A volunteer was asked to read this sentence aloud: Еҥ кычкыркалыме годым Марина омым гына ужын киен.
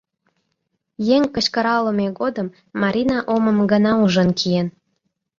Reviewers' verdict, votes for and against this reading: rejected, 1, 2